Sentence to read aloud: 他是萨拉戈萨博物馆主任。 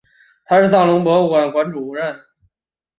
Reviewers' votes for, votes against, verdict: 0, 4, rejected